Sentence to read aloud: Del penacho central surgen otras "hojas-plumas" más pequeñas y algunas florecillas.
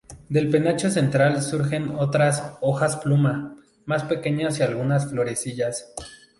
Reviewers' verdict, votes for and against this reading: accepted, 2, 0